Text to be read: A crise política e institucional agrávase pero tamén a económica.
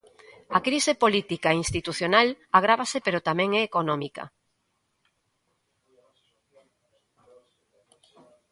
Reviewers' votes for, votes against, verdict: 1, 2, rejected